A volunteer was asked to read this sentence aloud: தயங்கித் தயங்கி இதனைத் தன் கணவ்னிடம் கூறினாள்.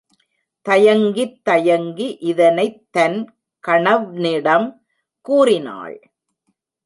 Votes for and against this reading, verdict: 1, 2, rejected